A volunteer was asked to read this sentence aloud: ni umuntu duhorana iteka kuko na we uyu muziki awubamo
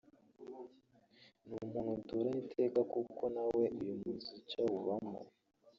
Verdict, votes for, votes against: rejected, 1, 2